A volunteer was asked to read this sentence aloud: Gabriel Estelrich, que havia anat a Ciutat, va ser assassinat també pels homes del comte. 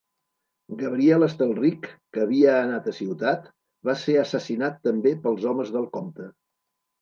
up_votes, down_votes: 2, 0